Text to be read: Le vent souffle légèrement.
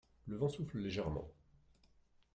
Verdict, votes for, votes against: rejected, 1, 2